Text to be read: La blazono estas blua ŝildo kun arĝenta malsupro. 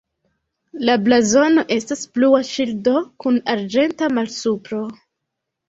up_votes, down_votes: 2, 0